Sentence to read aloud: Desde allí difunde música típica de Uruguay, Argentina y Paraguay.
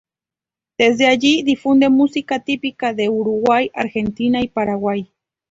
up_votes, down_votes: 2, 0